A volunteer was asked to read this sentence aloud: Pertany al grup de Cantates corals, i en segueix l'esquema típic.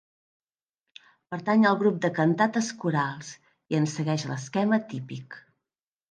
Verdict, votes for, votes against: accepted, 3, 0